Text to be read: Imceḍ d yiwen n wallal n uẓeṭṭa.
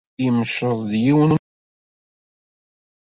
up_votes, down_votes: 0, 2